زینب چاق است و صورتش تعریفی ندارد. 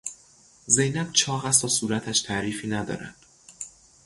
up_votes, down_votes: 0, 3